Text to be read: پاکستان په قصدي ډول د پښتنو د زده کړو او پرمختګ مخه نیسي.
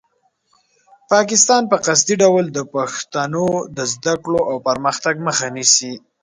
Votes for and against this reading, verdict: 3, 0, accepted